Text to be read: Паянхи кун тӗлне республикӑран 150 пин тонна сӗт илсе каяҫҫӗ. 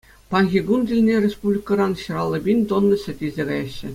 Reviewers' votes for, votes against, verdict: 0, 2, rejected